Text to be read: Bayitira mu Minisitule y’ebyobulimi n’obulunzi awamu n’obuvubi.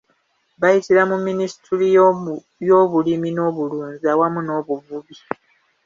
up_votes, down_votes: 0, 2